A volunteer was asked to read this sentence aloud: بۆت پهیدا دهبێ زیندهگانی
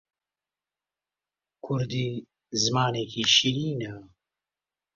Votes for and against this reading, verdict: 0, 2, rejected